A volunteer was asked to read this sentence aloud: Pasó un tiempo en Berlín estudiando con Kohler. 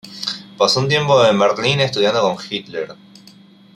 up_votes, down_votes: 1, 2